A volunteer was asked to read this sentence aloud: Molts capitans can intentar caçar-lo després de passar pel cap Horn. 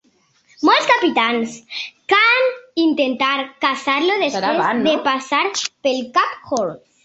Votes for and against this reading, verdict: 0, 2, rejected